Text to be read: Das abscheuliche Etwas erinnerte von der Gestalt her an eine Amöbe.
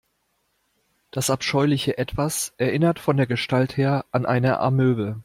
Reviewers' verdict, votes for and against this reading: rejected, 1, 2